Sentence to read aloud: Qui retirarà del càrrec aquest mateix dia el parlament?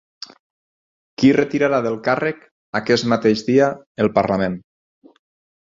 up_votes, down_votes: 6, 0